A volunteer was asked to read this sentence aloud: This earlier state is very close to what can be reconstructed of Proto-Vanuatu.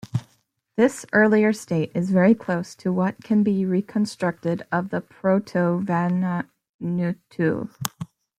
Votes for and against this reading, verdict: 0, 2, rejected